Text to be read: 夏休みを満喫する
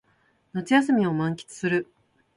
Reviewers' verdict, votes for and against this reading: accepted, 2, 0